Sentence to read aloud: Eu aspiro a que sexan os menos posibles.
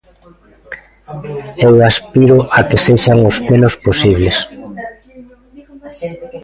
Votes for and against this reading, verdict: 0, 2, rejected